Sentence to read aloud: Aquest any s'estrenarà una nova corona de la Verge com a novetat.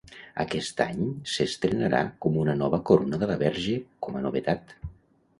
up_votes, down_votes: 1, 2